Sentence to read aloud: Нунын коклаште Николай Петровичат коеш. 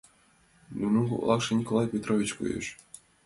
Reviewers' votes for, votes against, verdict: 0, 2, rejected